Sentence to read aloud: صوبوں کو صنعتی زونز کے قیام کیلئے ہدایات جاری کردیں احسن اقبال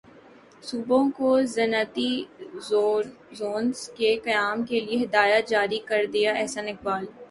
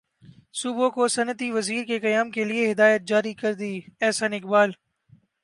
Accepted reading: second